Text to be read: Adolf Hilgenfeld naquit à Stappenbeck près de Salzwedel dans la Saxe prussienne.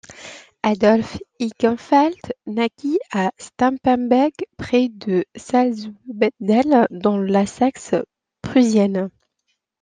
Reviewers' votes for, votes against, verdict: 0, 2, rejected